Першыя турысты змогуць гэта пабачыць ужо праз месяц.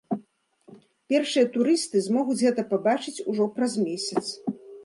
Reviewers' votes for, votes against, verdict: 2, 0, accepted